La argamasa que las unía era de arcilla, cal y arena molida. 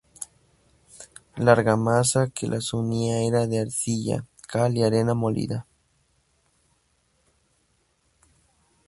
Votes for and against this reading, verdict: 2, 0, accepted